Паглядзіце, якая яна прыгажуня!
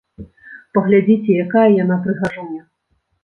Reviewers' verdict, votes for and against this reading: rejected, 1, 2